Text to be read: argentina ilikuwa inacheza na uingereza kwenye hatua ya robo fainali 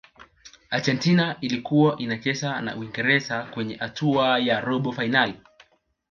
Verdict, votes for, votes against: accepted, 2, 1